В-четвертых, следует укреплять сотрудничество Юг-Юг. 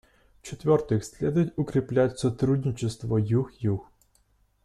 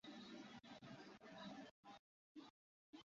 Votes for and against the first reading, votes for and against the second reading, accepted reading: 2, 0, 0, 2, first